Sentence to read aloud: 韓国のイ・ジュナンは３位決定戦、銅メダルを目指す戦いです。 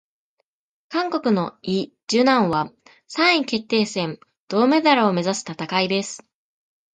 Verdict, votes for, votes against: rejected, 0, 2